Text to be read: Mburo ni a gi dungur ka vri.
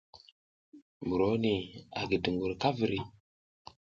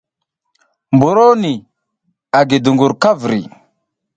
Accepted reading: second